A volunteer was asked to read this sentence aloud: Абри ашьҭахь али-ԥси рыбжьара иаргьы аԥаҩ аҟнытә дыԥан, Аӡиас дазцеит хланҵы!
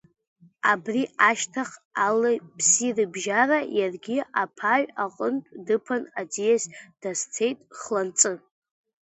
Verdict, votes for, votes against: rejected, 0, 2